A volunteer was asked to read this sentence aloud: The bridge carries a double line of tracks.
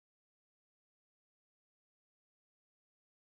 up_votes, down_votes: 0, 2